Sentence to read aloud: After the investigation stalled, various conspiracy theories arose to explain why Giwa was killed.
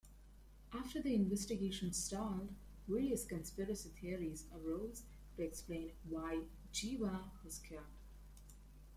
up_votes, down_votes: 1, 2